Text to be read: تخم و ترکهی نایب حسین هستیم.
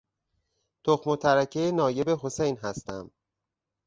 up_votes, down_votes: 0, 4